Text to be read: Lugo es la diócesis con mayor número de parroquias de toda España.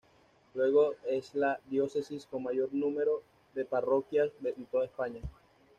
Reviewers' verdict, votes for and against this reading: rejected, 1, 2